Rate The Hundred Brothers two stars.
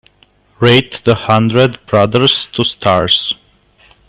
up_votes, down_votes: 2, 0